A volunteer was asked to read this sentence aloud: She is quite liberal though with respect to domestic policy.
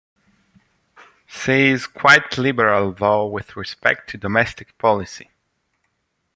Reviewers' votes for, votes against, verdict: 2, 0, accepted